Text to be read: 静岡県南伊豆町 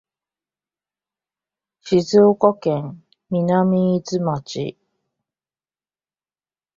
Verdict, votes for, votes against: accepted, 2, 0